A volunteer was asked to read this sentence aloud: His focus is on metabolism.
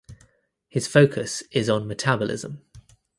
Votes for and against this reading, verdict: 2, 0, accepted